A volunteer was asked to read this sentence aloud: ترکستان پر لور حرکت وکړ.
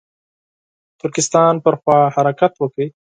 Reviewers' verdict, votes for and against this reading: rejected, 2, 4